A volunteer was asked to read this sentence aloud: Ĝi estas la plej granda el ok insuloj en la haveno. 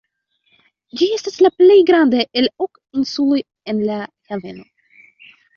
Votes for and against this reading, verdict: 0, 2, rejected